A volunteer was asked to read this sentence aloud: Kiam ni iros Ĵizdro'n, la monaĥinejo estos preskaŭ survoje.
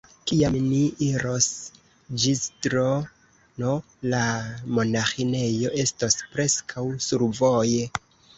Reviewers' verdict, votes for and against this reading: rejected, 0, 2